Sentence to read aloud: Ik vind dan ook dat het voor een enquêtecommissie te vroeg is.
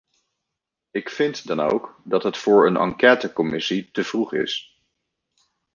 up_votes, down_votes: 2, 0